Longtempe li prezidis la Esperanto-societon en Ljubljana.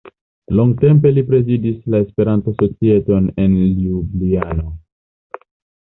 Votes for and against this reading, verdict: 2, 0, accepted